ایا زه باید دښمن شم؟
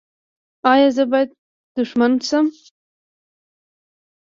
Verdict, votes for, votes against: rejected, 1, 2